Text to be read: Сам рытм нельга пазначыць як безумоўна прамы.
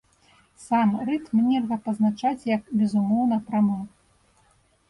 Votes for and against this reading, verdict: 0, 2, rejected